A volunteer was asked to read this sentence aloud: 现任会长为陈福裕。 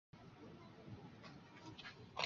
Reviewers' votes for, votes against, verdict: 1, 3, rejected